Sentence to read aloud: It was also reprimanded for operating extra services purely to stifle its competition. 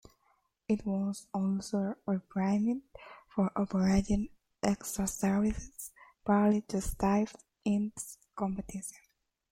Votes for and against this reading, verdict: 0, 2, rejected